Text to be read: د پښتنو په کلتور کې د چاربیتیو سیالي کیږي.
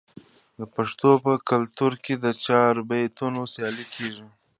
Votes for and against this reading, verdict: 2, 1, accepted